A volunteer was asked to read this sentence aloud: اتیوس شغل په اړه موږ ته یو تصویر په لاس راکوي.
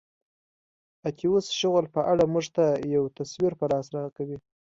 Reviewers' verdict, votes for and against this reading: accepted, 2, 0